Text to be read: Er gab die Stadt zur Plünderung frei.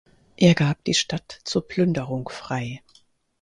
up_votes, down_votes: 4, 0